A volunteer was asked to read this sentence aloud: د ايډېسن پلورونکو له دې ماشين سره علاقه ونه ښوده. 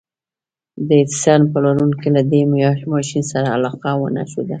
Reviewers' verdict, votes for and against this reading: accepted, 2, 0